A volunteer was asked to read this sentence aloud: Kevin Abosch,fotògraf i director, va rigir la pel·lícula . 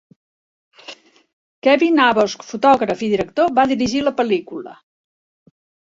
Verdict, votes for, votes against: rejected, 0, 2